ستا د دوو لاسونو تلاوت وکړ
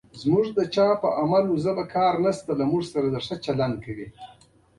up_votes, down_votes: 2, 1